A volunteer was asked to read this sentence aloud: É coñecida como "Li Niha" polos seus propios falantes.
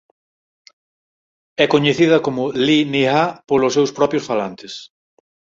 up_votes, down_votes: 4, 0